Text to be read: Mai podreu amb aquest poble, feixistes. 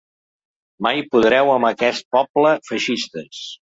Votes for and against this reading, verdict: 2, 0, accepted